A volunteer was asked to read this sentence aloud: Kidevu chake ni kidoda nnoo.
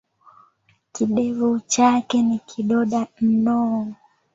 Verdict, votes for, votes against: accepted, 2, 1